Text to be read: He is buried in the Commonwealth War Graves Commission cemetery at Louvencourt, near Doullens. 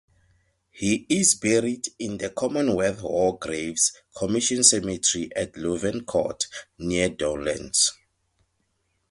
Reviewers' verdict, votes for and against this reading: accepted, 2, 0